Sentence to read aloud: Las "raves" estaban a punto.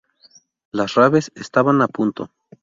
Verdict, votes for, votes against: rejected, 0, 2